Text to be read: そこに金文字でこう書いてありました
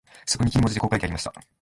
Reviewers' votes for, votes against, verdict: 0, 2, rejected